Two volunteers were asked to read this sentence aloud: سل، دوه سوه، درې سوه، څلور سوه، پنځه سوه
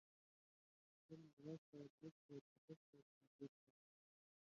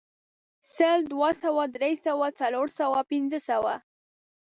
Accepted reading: second